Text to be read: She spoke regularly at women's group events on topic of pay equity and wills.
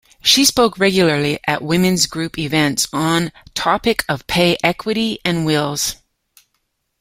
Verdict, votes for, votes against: accepted, 2, 0